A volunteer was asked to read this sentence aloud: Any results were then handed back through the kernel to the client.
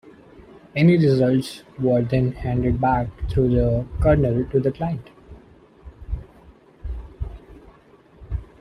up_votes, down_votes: 2, 1